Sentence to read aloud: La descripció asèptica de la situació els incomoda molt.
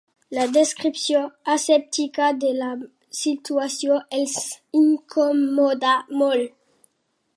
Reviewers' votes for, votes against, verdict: 3, 0, accepted